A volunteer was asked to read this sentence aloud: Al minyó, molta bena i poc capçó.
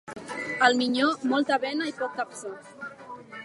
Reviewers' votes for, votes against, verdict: 2, 0, accepted